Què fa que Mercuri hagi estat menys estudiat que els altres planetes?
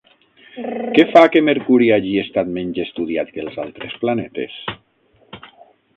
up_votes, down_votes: 0, 6